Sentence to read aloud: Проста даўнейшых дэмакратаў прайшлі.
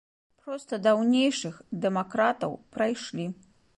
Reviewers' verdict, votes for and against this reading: accepted, 2, 0